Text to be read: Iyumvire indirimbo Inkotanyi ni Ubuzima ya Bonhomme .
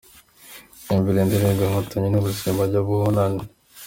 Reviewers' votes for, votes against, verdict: 1, 2, rejected